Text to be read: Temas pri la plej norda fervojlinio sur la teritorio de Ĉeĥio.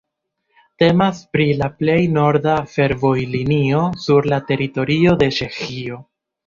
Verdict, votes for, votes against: accepted, 2, 1